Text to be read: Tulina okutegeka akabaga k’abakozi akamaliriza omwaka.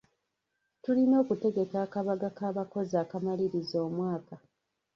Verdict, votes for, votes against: rejected, 1, 2